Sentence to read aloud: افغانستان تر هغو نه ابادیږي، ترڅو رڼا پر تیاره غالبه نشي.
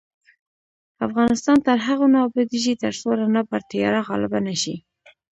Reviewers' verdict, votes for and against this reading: rejected, 0, 2